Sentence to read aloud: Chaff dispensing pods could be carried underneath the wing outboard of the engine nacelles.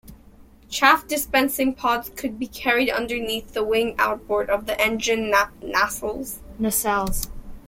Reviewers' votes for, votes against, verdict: 0, 2, rejected